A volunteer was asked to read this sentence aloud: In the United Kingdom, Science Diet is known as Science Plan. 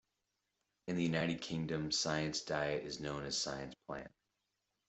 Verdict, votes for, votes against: accepted, 2, 0